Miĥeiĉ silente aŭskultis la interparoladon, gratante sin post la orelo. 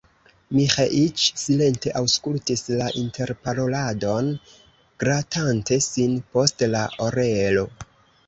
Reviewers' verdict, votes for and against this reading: accepted, 2, 0